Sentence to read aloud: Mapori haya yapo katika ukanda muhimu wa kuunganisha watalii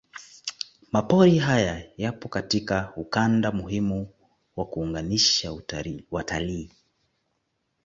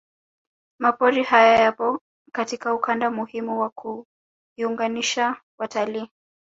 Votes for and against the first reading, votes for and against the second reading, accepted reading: 2, 1, 0, 2, first